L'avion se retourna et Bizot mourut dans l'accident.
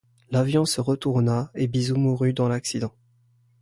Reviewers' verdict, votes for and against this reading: accepted, 2, 0